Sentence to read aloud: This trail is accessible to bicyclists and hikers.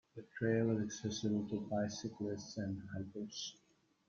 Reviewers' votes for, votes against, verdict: 0, 2, rejected